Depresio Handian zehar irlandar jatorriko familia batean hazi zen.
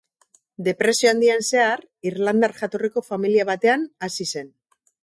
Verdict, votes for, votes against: accepted, 4, 0